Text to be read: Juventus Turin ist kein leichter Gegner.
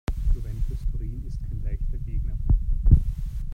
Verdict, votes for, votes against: rejected, 1, 2